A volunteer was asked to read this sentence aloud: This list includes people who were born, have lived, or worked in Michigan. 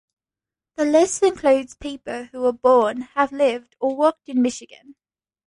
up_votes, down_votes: 1, 2